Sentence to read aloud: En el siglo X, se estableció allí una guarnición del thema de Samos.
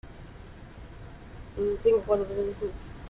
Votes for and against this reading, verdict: 0, 2, rejected